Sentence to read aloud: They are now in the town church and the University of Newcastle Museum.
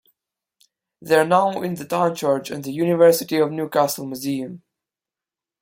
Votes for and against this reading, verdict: 1, 2, rejected